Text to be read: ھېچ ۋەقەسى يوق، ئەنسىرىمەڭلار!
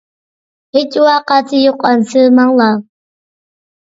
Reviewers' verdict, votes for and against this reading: rejected, 1, 2